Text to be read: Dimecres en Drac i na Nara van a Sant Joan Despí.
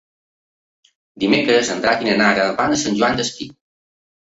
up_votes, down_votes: 3, 0